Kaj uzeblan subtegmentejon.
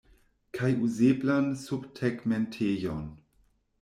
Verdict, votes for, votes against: accepted, 2, 0